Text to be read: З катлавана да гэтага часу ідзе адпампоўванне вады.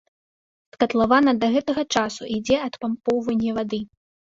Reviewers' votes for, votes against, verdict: 2, 1, accepted